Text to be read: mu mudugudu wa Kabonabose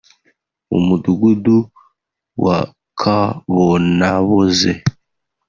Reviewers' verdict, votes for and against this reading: rejected, 1, 2